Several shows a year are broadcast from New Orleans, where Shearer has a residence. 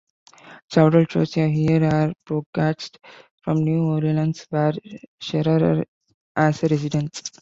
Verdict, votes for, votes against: rejected, 1, 2